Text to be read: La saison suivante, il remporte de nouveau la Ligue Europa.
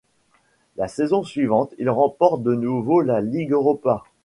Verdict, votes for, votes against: accepted, 2, 0